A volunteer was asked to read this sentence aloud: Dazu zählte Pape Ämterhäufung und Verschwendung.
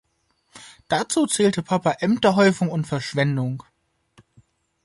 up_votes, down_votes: 3, 2